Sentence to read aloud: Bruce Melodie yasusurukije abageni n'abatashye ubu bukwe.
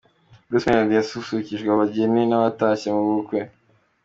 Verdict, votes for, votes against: rejected, 1, 2